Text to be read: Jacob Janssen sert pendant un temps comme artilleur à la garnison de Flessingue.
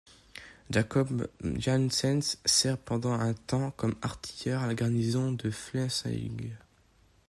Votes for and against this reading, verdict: 1, 2, rejected